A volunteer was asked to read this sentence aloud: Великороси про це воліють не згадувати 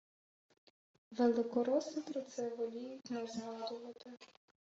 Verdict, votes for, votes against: accepted, 2, 0